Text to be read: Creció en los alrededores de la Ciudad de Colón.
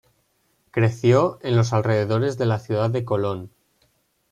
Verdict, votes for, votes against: accepted, 3, 0